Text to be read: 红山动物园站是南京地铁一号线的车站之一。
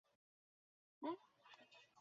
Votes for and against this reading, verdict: 1, 2, rejected